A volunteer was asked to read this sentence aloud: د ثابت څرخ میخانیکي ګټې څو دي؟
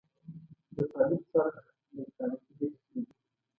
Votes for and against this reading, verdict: 1, 2, rejected